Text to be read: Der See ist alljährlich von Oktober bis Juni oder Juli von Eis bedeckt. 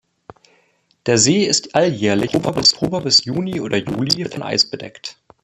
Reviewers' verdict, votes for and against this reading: rejected, 0, 2